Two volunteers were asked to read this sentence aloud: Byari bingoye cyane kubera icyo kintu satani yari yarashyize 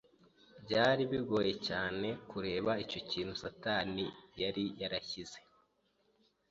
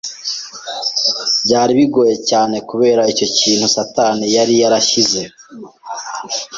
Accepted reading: second